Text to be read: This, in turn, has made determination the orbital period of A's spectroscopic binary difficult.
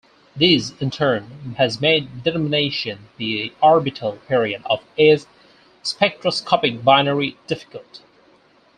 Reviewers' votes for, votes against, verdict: 2, 4, rejected